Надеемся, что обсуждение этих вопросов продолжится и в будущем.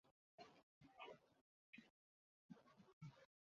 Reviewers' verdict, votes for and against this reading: rejected, 0, 2